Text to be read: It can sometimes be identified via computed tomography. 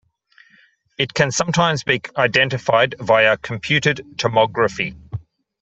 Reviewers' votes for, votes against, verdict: 1, 2, rejected